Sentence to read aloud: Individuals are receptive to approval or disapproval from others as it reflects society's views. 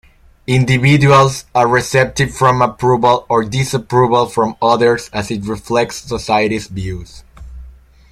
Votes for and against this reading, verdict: 0, 2, rejected